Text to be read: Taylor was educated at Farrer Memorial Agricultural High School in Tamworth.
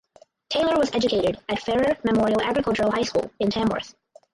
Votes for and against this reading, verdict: 2, 2, rejected